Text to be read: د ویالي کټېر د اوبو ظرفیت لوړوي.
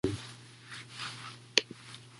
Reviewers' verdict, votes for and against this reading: rejected, 1, 2